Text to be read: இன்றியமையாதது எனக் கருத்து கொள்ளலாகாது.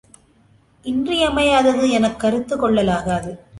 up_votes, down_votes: 2, 0